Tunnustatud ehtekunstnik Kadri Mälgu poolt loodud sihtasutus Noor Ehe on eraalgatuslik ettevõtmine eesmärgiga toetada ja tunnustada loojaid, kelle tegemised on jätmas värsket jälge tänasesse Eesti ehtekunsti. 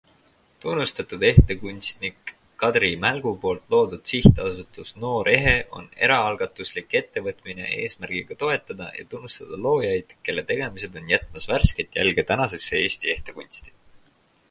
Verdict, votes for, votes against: accepted, 4, 0